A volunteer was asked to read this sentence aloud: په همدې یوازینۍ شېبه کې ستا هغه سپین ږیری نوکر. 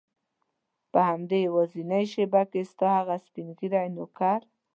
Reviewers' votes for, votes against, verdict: 2, 0, accepted